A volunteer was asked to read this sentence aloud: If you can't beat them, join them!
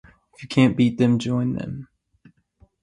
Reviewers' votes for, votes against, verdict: 2, 0, accepted